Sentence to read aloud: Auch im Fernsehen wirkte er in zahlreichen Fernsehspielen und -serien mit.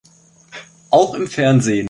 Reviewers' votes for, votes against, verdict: 0, 3, rejected